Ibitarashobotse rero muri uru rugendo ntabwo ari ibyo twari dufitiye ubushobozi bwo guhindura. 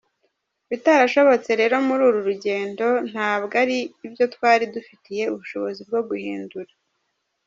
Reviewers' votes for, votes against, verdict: 0, 2, rejected